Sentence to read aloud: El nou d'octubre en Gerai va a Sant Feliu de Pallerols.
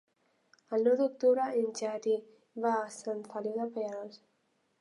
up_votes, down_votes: 0, 2